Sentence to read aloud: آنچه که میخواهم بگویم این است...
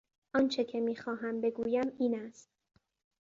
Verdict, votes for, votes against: accepted, 2, 0